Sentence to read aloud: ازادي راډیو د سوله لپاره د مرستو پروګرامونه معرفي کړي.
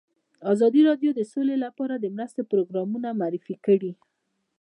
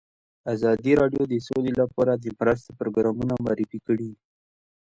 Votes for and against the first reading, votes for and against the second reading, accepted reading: 0, 2, 2, 1, second